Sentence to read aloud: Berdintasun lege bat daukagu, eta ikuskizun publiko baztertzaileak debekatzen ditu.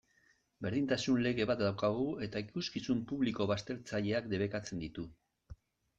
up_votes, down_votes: 2, 0